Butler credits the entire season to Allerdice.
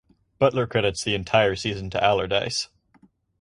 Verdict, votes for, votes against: accepted, 4, 0